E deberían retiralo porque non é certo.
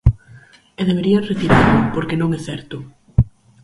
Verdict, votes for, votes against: rejected, 2, 4